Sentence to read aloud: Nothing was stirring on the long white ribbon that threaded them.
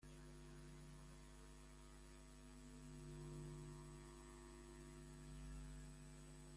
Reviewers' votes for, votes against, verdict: 0, 2, rejected